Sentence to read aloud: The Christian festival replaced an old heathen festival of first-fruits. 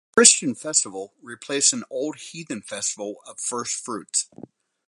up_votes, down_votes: 0, 4